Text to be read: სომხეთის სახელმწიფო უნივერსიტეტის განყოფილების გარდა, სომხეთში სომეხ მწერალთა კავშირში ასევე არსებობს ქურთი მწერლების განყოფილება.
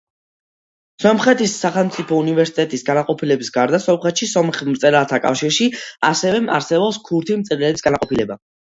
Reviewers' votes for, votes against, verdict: 2, 0, accepted